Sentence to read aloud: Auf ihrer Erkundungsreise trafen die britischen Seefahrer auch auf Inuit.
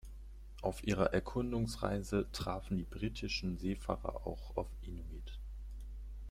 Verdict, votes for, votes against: accepted, 2, 0